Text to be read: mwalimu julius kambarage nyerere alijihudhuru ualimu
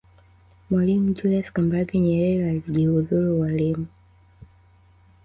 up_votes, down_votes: 1, 2